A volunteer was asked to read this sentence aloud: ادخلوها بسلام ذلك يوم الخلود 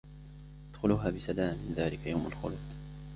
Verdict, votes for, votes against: accepted, 2, 1